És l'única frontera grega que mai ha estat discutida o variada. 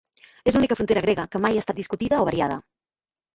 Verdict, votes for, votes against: accepted, 2, 0